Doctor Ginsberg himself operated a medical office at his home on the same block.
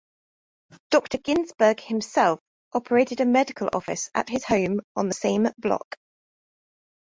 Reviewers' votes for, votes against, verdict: 2, 0, accepted